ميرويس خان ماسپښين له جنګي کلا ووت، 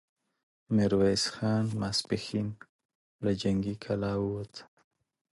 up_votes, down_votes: 2, 0